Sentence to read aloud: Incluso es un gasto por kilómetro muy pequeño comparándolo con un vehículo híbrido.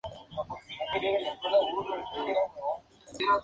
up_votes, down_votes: 2, 2